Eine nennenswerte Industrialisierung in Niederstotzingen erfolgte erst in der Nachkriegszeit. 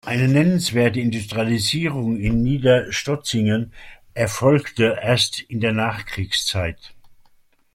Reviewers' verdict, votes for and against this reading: accepted, 2, 0